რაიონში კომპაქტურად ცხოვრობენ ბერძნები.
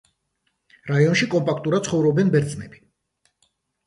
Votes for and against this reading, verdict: 2, 0, accepted